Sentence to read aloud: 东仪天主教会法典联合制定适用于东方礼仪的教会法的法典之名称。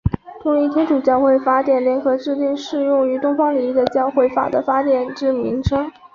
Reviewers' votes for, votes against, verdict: 2, 0, accepted